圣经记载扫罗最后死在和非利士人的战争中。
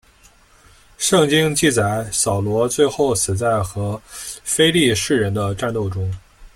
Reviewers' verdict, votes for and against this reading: rejected, 1, 2